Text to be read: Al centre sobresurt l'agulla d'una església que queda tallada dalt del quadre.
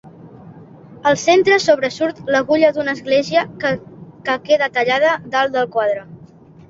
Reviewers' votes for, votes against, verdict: 0, 2, rejected